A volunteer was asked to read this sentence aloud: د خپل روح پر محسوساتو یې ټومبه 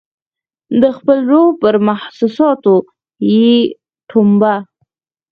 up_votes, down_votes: 0, 4